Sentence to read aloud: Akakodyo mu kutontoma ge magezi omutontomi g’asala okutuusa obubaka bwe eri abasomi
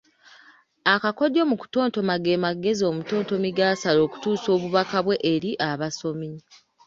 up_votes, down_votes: 2, 0